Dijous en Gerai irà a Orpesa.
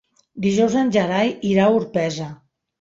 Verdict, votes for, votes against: accepted, 3, 0